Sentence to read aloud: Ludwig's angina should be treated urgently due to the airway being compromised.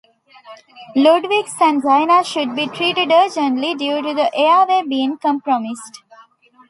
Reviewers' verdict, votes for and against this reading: rejected, 0, 2